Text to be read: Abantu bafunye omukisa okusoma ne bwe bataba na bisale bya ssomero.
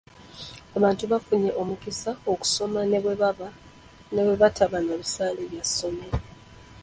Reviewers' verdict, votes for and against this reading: rejected, 0, 2